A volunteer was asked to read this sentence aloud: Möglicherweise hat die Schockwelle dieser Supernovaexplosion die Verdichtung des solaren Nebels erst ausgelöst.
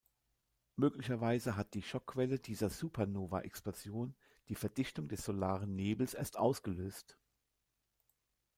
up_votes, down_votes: 1, 2